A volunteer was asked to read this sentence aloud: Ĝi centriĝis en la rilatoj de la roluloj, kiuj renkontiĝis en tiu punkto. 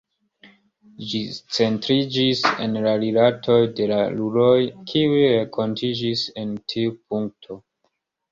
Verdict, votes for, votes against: accepted, 2, 0